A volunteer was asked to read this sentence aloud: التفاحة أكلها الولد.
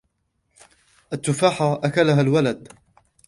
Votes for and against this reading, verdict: 2, 0, accepted